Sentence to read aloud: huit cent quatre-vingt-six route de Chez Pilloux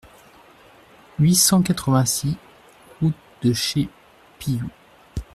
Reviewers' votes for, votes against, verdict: 1, 2, rejected